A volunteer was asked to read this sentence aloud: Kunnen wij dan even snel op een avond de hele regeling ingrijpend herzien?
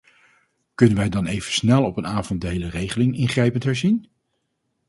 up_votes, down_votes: 4, 0